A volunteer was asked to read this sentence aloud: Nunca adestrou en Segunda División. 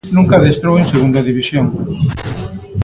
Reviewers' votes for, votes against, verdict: 2, 0, accepted